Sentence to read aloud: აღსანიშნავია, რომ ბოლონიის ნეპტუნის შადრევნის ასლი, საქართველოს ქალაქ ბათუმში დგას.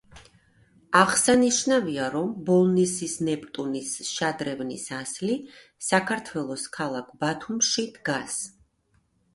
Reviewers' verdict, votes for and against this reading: rejected, 1, 2